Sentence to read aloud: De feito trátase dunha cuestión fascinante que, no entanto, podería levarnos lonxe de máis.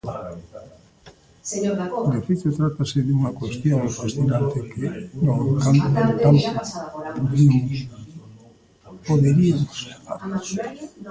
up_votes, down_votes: 0, 2